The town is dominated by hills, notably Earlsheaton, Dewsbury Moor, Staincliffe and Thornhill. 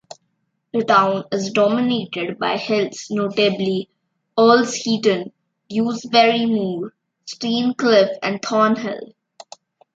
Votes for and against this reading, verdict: 2, 1, accepted